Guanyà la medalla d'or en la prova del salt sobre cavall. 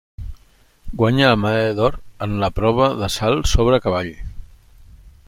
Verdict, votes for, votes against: accepted, 2, 1